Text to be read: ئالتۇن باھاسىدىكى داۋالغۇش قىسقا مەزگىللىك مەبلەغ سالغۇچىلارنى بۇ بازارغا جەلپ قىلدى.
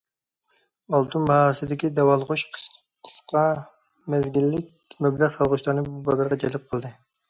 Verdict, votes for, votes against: rejected, 1, 2